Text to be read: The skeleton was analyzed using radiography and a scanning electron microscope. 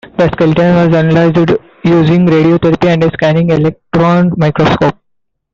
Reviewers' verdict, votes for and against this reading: rejected, 1, 2